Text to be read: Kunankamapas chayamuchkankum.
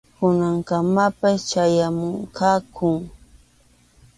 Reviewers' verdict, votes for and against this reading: accepted, 2, 1